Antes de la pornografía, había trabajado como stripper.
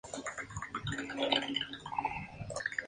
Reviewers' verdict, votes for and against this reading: rejected, 0, 2